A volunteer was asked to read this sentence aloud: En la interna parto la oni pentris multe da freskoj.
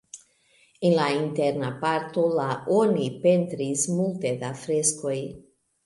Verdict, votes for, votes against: accepted, 2, 1